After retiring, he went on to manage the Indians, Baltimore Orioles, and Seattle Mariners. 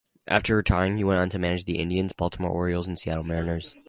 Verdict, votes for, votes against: rejected, 2, 2